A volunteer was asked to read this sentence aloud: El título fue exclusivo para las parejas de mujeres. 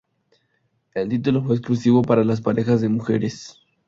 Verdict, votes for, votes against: accepted, 4, 0